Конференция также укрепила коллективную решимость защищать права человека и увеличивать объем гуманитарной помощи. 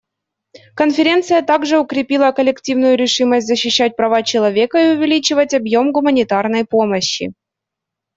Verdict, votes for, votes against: accepted, 2, 0